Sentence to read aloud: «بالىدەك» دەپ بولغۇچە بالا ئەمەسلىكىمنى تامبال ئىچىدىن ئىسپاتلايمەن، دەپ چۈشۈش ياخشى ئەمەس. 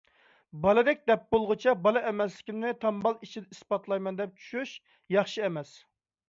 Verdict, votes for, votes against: rejected, 0, 2